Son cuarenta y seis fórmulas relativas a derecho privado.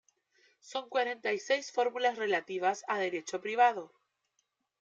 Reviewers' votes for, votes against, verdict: 0, 2, rejected